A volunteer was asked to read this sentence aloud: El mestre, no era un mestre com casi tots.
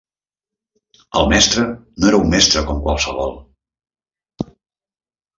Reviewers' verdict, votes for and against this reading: rejected, 1, 2